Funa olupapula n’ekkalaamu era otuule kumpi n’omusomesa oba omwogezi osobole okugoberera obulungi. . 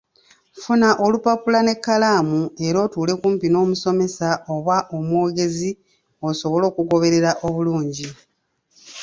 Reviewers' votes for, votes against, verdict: 2, 0, accepted